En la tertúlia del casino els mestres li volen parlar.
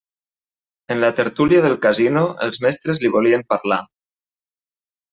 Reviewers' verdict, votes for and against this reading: rejected, 0, 2